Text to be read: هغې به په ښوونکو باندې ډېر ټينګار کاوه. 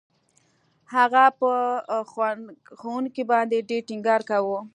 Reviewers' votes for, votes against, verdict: 1, 2, rejected